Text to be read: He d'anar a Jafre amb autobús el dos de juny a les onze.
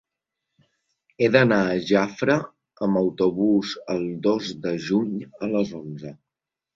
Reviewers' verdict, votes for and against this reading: accepted, 2, 0